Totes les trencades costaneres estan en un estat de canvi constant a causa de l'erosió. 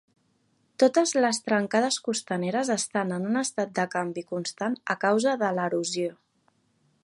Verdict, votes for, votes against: accepted, 4, 0